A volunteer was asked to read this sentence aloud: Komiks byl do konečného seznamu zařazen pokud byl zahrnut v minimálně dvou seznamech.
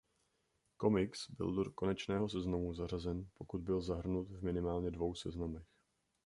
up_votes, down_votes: 0, 2